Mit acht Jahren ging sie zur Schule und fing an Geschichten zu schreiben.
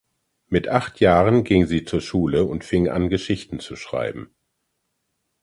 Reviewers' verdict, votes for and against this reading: accepted, 2, 0